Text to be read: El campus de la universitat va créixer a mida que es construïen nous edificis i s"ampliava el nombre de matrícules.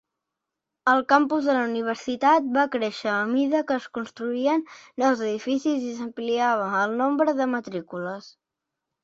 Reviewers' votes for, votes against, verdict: 2, 0, accepted